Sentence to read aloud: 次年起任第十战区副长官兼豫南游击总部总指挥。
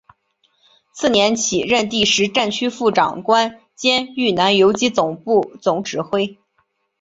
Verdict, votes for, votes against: rejected, 0, 2